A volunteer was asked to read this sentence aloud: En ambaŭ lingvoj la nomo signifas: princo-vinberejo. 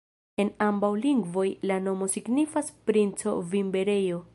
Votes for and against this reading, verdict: 2, 0, accepted